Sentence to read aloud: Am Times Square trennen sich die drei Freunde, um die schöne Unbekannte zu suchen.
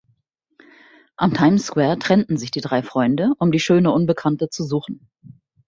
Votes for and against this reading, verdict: 1, 2, rejected